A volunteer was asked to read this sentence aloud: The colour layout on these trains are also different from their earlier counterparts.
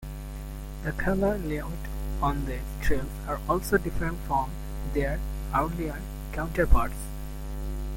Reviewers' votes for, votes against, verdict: 0, 2, rejected